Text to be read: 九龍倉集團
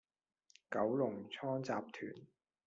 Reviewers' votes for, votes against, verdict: 2, 1, accepted